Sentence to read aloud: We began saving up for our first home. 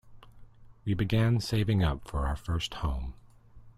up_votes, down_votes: 2, 0